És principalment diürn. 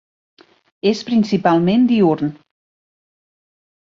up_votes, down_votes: 2, 0